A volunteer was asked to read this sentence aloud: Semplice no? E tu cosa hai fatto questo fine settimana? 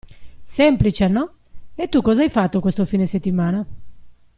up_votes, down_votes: 2, 0